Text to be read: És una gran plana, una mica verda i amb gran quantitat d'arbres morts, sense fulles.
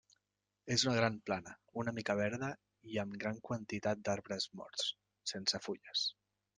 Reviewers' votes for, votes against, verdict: 3, 0, accepted